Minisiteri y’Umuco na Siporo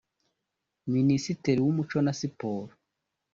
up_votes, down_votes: 0, 2